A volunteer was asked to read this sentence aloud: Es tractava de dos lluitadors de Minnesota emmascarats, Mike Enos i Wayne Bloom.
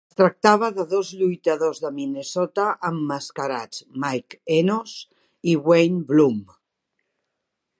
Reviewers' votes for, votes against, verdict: 0, 2, rejected